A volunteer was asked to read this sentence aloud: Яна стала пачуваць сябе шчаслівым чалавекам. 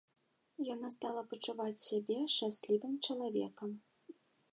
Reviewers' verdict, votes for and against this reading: accepted, 2, 0